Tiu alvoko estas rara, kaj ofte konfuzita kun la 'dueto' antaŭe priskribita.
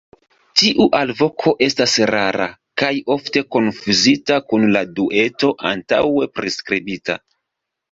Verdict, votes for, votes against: accepted, 2, 0